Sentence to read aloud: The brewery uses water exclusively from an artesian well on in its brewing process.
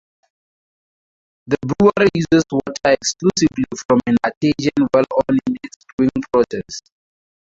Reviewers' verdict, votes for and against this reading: rejected, 0, 4